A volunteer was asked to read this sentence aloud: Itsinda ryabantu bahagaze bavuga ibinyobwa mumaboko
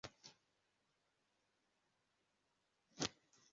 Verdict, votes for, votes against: rejected, 0, 2